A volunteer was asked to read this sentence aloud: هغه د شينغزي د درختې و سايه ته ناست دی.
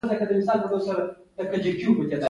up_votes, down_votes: 0, 2